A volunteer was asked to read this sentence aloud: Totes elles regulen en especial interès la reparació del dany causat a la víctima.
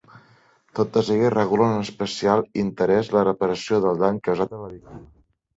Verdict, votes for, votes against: rejected, 1, 2